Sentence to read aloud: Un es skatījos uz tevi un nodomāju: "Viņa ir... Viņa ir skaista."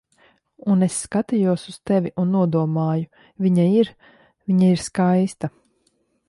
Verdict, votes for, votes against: accepted, 2, 1